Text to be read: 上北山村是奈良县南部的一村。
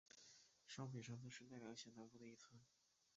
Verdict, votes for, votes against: rejected, 0, 3